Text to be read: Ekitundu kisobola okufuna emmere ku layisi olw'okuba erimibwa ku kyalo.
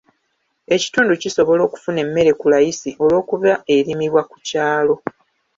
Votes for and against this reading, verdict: 2, 0, accepted